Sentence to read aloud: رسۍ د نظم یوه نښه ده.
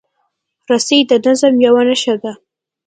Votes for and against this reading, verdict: 2, 0, accepted